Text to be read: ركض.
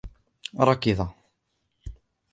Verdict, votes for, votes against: rejected, 0, 2